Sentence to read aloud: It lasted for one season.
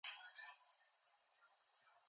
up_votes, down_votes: 0, 2